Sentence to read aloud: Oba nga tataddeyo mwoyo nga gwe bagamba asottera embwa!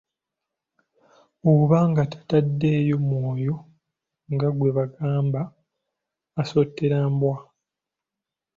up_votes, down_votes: 2, 0